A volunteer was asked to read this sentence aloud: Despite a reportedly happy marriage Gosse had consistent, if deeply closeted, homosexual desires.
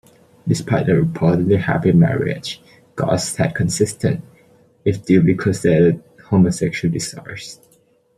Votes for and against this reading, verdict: 0, 2, rejected